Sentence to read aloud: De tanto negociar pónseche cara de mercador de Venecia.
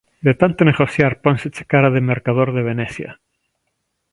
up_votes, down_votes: 3, 0